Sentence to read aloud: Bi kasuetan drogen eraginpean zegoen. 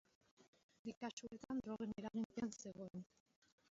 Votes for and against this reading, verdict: 1, 2, rejected